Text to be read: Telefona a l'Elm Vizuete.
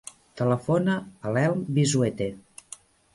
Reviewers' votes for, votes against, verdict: 2, 0, accepted